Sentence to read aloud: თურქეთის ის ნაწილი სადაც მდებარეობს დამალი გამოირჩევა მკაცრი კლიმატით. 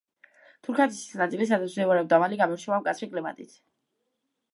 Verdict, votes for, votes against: rejected, 1, 2